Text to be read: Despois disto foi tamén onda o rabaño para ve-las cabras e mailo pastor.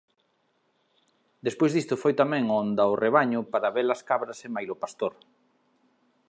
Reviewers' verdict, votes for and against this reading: rejected, 1, 2